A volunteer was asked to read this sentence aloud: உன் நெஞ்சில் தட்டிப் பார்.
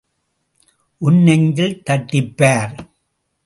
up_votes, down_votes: 2, 0